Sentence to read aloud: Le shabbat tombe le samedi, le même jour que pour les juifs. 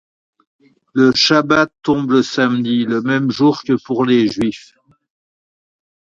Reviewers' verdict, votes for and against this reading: accepted, 2, 0